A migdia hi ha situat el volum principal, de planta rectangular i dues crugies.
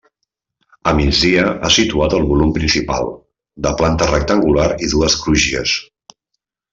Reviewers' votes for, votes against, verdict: 0, 2, rejected